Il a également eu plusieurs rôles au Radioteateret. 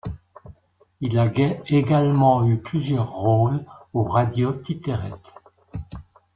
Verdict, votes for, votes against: accepted, 2, 1